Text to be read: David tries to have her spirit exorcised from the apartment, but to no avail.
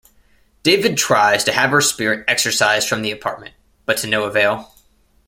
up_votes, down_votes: 1, 2